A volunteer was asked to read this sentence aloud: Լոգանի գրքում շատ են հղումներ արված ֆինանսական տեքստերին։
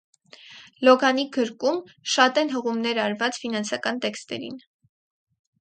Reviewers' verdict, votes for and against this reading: rejected, 0, 4